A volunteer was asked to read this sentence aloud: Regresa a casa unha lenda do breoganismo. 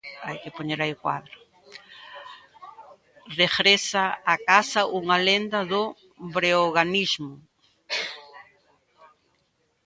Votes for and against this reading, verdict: 0, 2, rejected